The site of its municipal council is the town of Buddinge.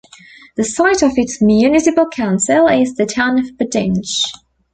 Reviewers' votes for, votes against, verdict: 2, 0, accepted